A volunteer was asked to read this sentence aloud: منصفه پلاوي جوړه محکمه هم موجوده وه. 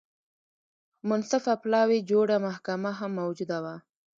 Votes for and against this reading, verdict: 1, 2, rejected